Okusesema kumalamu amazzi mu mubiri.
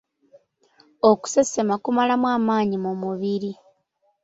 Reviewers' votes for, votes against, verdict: 0, 2, rejected